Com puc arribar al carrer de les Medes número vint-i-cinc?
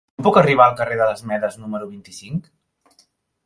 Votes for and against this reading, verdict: 1, 2, rejected